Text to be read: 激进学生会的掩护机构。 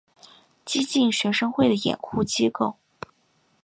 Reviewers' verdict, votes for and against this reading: accepted, 2, 0